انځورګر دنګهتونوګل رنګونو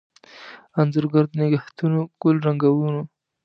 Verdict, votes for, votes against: accepted, 2, 0